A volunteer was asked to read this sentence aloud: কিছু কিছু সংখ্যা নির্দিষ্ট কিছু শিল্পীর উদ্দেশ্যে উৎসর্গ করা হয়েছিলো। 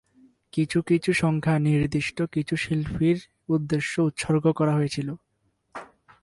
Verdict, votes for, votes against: rejected, 0, 2